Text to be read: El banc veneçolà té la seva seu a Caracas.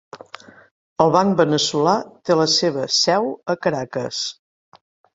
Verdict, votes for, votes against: accepted, 2, 0